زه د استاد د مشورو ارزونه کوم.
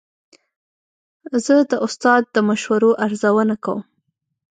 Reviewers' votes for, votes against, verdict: 2, 1, accepted